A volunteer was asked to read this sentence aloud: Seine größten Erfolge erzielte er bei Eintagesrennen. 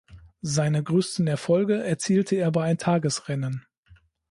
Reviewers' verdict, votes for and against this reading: rejected, 0, 2